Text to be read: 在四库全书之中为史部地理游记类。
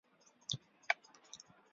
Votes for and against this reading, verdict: 0, 2, rejected